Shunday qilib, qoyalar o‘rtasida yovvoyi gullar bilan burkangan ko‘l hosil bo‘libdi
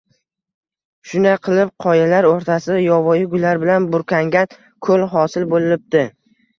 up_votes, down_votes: 2, 0